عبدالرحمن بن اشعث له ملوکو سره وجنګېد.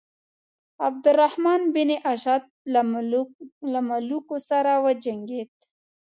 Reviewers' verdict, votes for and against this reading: rejected, 1, 2